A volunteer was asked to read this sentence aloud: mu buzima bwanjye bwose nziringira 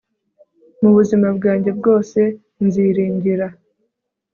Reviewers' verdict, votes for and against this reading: accepted, 2, 1